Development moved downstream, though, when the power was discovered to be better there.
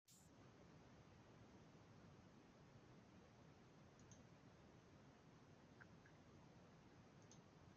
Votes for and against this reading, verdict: 0, 2, rejected